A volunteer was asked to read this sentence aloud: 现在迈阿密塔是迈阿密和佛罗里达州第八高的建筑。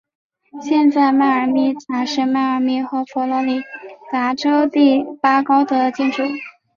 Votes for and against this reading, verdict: 3, 1, accepted